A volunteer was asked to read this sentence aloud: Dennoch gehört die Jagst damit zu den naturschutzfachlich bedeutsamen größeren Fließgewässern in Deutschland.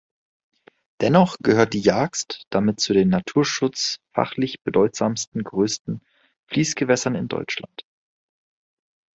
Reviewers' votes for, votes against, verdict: 0, 2, rejected